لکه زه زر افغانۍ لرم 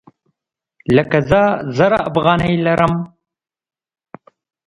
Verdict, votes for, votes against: accepted, 2, 0